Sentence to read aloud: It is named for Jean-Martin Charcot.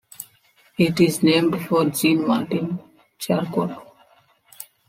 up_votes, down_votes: 3, 1